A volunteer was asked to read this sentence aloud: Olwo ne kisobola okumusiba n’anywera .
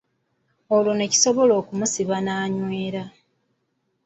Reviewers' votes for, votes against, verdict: 2, 1, accepted